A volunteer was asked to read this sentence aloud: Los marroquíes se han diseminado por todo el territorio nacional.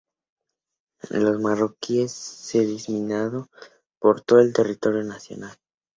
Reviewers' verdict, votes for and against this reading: rejected, 0, 2